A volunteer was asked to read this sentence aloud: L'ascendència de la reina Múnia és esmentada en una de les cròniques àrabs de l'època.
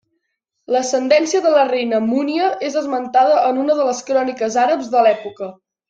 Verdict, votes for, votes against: rejected, 1, 2